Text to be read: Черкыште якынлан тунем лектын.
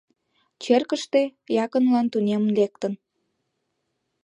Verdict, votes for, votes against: accepted, 2, 1